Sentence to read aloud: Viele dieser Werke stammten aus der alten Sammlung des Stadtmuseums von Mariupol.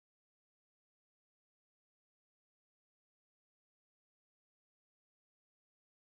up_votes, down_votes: 0, 3